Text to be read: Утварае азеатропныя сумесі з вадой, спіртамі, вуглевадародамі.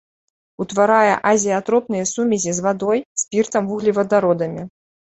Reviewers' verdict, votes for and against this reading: rejected, 1, 2